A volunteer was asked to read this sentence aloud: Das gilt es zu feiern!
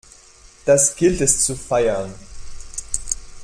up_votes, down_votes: 2, 0